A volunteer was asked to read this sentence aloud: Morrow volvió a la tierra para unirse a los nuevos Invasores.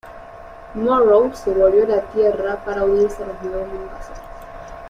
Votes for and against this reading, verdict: 0, 2, rejected